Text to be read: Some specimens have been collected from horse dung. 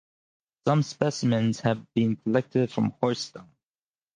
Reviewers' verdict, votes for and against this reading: accepted, 4, 0